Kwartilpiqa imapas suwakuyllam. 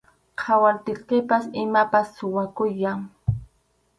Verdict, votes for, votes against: rejected, 0, 2